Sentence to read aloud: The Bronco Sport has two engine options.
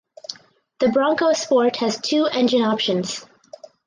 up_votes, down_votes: 4, 0